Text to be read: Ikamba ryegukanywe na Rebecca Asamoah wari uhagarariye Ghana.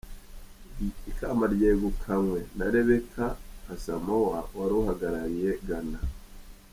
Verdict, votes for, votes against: rejected, 0, 2